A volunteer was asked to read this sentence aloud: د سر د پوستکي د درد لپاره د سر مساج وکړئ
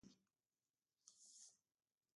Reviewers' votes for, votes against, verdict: 0, 2, rejected